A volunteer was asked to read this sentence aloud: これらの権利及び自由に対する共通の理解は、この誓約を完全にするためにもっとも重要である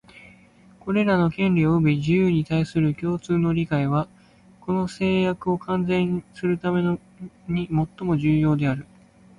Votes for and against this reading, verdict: 2, 0, accepted